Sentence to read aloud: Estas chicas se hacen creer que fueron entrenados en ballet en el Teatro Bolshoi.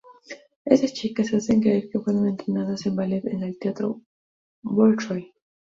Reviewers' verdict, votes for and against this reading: accepted, 2, 0